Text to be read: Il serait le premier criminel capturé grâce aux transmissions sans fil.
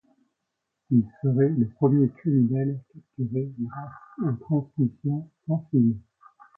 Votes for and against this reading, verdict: 0, 2, rejected